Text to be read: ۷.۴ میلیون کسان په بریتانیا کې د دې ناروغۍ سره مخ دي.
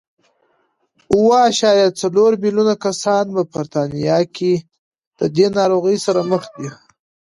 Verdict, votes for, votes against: rejected, 0, 2